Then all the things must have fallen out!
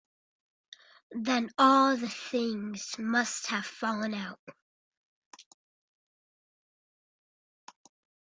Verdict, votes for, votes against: accepted, 2, 0